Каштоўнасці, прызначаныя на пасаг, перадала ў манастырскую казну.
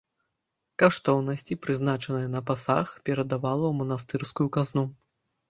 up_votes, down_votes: 0, 2